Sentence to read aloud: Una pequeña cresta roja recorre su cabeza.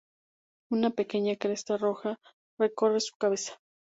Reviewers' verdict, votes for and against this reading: rejected, 0, 2